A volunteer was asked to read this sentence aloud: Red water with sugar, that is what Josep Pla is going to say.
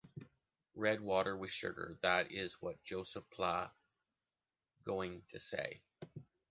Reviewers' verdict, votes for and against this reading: rejected, 0, 2